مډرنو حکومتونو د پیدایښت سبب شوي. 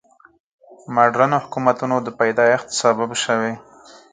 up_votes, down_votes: 4, 0